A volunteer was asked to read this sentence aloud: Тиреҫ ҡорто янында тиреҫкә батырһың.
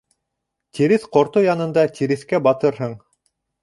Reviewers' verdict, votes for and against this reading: rejected, 1, 2